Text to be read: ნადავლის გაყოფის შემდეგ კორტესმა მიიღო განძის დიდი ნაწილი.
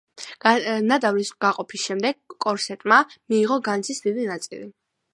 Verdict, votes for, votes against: accepted, 2, 1